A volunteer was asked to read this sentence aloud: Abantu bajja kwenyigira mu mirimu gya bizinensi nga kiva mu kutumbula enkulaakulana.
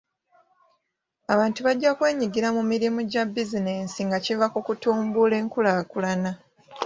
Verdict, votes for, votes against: accepted, 2, 1